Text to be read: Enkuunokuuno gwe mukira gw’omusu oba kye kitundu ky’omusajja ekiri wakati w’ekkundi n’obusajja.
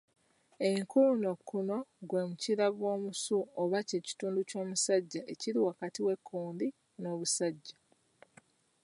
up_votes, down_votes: 1, 2